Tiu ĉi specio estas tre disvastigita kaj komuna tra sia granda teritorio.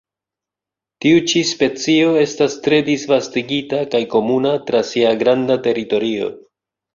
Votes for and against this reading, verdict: 2, 0, accepted